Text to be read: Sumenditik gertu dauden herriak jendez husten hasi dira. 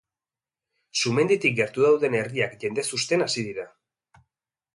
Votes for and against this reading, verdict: 2, 0, accepted